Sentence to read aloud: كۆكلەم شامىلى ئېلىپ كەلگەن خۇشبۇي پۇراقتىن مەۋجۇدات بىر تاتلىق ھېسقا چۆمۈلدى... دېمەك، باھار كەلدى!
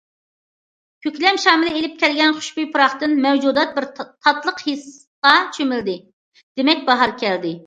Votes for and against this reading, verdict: 2, 1, accepted